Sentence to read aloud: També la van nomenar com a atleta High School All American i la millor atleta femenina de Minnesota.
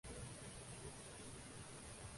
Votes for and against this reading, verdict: 0, 2, rejected